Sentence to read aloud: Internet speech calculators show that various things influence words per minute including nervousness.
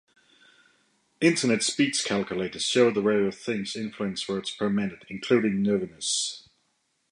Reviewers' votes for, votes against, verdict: 1, 2, rejected